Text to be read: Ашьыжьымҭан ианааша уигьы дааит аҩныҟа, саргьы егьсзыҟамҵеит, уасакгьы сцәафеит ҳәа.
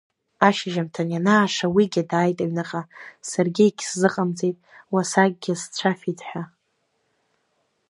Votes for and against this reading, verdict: 0, 2, rejected